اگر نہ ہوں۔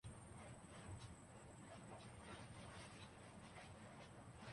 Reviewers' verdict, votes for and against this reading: rejected, 0, 3